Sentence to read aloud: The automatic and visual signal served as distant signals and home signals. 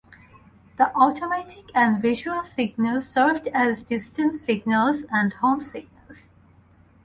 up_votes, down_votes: 4, 0